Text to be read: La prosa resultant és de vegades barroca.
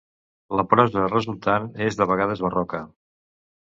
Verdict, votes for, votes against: accepted, 2, 0